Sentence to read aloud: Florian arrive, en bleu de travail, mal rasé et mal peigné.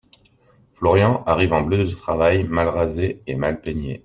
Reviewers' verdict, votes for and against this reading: accepted, 2, 0